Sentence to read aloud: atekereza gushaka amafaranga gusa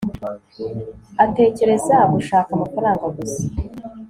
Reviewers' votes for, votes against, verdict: 2, 0, accepted